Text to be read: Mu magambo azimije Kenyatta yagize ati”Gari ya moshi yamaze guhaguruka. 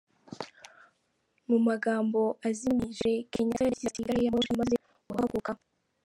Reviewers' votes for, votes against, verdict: 0, 3, rejected